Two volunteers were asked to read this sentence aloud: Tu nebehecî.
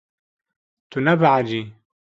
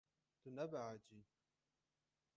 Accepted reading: first